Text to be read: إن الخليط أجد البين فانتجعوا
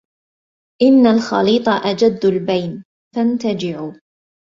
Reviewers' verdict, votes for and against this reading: rejected, 1, 2